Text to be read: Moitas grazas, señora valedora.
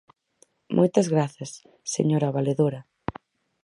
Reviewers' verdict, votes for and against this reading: rejected, 2, 4